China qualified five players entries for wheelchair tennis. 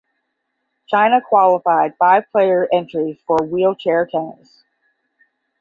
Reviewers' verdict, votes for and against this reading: rejected, 5, 5